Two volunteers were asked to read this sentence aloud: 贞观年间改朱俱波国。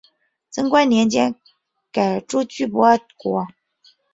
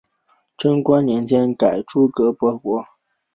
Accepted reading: first